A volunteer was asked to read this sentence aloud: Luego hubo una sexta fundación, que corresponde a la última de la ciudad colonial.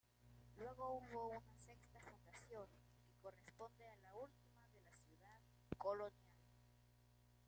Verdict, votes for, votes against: rejected, 0, 2